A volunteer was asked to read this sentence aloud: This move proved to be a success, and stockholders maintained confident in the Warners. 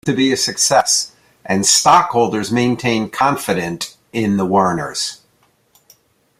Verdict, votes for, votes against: rejected, 0, 2